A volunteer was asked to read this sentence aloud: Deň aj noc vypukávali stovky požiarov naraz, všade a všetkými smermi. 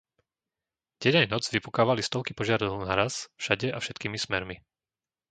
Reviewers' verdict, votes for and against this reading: rejected, 0, 2